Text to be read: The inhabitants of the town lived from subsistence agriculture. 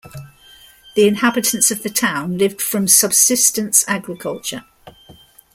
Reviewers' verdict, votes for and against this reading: accepted, 2, 0